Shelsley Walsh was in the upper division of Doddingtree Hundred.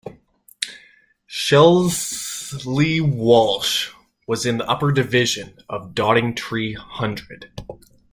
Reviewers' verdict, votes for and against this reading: rejected, 1, 2